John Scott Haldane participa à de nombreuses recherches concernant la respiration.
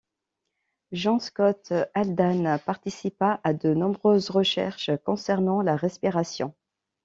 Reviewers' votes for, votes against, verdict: 1, 2, rejected